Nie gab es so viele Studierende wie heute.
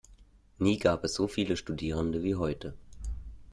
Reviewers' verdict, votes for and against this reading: accepted, 2, 0